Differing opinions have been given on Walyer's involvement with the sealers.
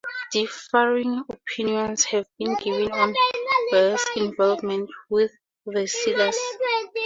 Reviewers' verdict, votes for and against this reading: accepted, 2, 0